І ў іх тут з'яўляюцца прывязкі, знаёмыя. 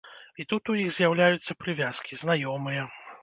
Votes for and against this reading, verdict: 1, 2, rejected